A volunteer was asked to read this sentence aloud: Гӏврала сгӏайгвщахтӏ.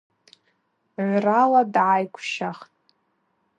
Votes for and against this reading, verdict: 0, 2, rejected